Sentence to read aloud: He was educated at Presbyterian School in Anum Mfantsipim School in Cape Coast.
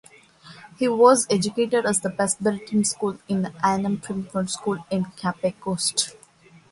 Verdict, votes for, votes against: rejected, 0, 2